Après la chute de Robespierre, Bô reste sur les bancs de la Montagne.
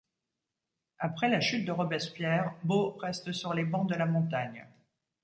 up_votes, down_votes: 2, 0